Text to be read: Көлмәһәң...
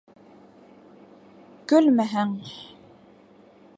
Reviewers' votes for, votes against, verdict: 2, 0, accepted